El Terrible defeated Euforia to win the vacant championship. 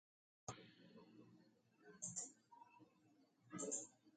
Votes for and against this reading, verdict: 0, 2, rejected